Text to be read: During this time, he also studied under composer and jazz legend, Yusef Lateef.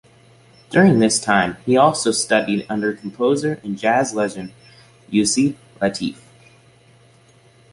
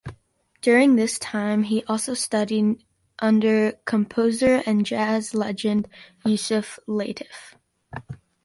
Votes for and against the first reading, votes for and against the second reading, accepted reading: 2, 0, 0, 2, first